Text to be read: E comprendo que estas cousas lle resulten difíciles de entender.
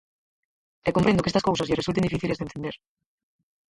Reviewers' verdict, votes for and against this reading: rejected, 0, 4